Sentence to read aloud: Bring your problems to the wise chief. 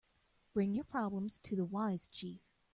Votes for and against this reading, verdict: 2, 0, accepted